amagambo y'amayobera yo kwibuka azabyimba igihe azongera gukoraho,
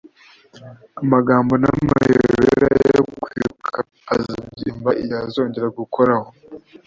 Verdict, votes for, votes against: rejected, 0, 2